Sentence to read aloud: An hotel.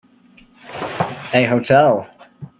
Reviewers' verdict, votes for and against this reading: rejected, 1, 2